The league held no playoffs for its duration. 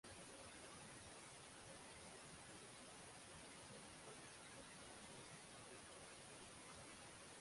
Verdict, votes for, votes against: rejected, 0, 6